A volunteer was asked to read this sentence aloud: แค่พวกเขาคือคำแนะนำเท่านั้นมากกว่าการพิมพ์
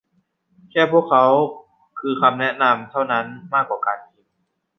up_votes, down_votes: 0, 2